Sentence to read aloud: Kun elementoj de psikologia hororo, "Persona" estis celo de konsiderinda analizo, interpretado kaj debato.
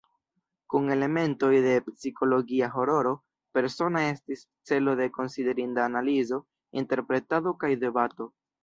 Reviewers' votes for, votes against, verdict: 2, 1, accepted